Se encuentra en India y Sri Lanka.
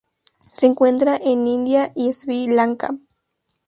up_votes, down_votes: 2, 0